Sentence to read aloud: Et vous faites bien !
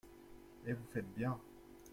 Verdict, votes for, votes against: rejected, 1, 2